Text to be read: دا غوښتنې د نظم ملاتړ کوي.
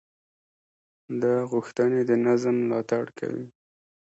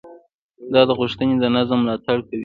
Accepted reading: first